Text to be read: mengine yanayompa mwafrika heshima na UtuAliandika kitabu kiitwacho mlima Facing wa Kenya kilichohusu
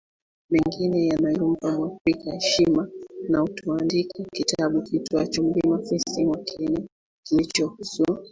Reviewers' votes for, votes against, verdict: 0, 2, rejected